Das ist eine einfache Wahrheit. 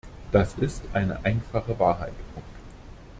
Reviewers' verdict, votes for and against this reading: rejected, 0, 2